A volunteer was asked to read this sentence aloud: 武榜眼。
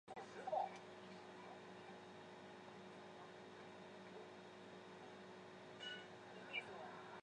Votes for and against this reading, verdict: 3, 5, rejected